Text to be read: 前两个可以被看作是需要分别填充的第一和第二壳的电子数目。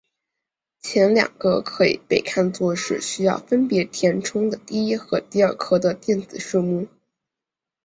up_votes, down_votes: 2, 0